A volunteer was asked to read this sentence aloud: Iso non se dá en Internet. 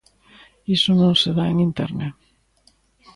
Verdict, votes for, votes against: accepted, 2, 0